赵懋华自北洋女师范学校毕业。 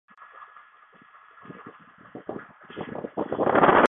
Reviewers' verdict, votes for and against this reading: rejected, 0, 5